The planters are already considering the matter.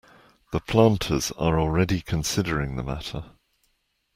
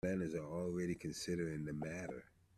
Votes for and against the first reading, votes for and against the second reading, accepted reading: 2, 0, 0, 2, first